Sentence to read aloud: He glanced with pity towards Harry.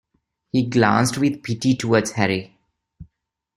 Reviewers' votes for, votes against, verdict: 2, 0, accepted